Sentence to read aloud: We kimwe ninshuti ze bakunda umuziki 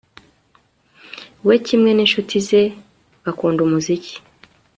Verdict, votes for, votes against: accepted, 2, 0